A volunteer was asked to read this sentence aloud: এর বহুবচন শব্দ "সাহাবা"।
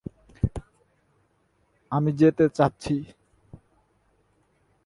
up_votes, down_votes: 0, 2